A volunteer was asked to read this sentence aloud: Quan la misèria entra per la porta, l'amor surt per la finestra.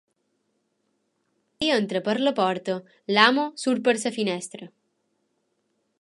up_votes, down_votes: 0, 3